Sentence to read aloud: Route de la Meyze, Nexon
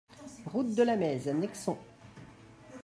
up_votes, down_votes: 2, 0